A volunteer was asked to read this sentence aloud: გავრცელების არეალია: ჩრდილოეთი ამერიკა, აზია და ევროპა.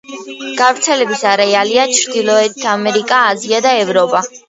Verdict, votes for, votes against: accepted, 2, 1